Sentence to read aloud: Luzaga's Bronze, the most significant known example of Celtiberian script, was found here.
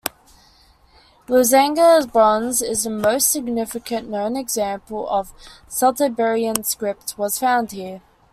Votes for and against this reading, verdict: 0, 2, rejected